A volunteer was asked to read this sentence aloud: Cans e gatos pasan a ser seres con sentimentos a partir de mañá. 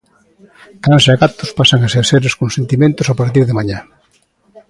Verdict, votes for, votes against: accepted, 2, 0